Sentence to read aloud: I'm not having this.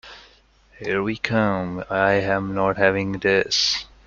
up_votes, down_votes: 0, 2